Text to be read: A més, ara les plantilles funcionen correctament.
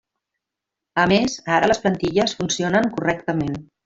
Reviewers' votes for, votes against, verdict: 0, 2, rejected